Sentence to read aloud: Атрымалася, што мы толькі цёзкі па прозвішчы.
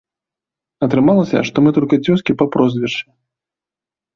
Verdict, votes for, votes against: rejected, 0, 2